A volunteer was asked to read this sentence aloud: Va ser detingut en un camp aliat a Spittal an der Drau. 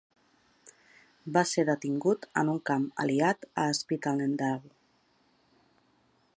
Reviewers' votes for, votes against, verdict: 0, 2, rejected